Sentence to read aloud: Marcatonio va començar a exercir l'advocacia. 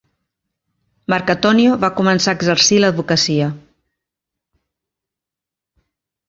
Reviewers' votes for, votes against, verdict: 4, 0, accepted